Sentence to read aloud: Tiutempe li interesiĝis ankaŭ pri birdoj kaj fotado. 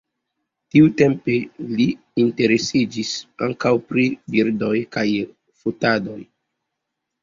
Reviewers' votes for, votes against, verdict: 2, 0, accepted